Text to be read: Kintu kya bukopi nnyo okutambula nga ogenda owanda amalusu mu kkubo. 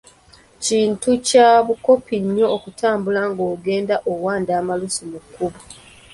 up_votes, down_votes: 2, 0